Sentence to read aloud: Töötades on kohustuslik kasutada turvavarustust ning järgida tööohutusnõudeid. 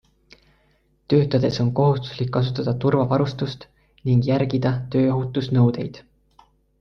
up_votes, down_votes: 2, 0